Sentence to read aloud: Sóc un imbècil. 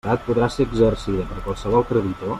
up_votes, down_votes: 0, 2